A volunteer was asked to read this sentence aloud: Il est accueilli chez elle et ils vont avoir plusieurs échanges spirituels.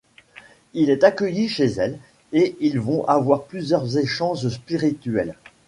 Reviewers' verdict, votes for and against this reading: rejected, 0, 2